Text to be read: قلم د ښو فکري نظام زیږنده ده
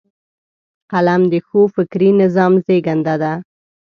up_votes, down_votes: 2, 0